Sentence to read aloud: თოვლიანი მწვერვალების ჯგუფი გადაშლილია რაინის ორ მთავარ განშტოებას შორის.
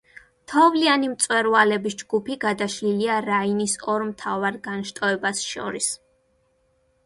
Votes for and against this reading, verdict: 2, 0, accepted